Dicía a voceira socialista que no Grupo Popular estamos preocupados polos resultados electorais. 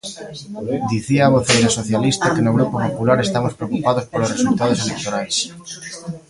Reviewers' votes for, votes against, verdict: 2, 0, accepted